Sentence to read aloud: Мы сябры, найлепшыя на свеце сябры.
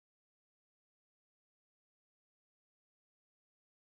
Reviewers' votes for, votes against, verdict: 1, 2, rejected